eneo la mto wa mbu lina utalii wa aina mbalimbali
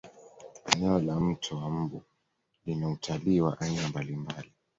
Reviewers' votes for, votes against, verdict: 2, 0, accepted